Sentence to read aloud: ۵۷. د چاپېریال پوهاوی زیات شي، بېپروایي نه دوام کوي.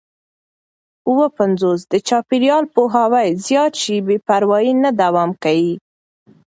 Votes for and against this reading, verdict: 0, 2, rejected